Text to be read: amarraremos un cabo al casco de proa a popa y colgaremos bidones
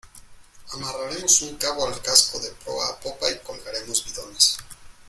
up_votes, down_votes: 2, 0